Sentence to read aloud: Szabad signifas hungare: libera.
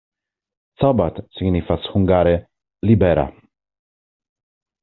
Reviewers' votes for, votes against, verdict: 2, 0, accepted